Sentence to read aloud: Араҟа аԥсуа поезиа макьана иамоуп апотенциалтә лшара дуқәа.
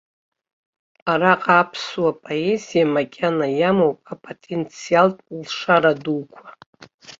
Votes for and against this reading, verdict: 2, 0, accepted